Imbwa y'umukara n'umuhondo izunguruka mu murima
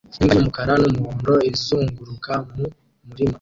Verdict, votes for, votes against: rejected, 1, 2